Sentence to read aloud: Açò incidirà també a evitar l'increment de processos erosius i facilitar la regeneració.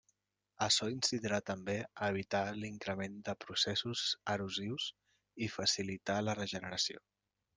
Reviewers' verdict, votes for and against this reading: accepted, 2, 0